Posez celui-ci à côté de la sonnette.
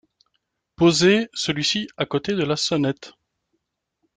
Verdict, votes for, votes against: accepted, 2, 0